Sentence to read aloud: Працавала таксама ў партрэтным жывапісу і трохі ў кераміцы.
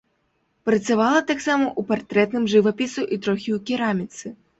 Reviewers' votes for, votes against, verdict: 2, 0, accepted